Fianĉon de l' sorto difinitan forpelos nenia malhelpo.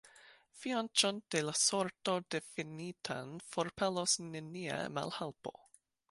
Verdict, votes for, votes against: rejected, 1, 2